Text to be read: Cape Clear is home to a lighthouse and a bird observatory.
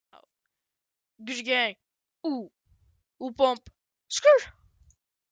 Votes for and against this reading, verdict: 0, 2, rejected